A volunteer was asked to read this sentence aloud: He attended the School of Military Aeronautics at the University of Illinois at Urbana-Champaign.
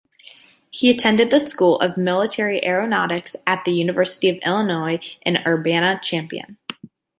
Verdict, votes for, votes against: rejected, 0, 2